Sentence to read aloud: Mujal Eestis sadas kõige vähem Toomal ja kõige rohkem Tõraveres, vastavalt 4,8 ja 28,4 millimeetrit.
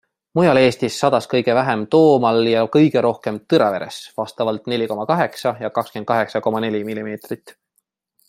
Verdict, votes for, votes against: rejected, 0, 2